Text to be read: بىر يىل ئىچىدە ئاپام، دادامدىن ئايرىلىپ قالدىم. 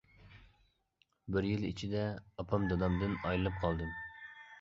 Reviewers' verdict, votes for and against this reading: accepted, 2, 0